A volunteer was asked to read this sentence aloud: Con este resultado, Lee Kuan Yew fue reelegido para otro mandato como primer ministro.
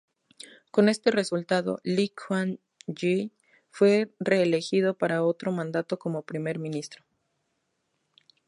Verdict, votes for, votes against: accepted, 4, 0